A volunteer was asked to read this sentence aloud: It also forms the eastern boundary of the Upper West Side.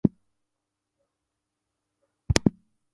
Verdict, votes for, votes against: rejected, 0, 4